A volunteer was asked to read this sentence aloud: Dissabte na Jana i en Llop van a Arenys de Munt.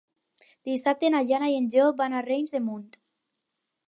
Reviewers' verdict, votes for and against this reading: rejected, 0, 4